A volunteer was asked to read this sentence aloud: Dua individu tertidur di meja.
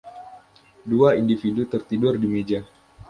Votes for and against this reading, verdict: 2, 0, accepted